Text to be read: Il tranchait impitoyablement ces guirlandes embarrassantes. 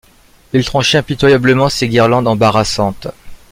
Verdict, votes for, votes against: rejected, 0, 2